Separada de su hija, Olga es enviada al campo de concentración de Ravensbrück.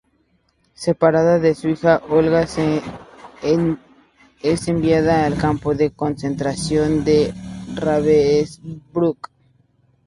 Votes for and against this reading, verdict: 0, 2, rejected